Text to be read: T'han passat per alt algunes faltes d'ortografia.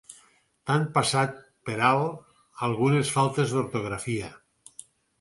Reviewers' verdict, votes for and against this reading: rejected, 0, 4